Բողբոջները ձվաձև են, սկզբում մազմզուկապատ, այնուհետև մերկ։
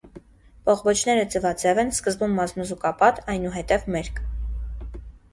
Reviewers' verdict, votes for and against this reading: accepted, 2, 1